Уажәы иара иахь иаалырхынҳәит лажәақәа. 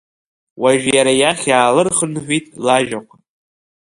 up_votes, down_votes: 0, 2